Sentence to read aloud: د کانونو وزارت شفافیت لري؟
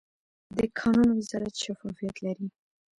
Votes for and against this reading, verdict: 1, 2, rejected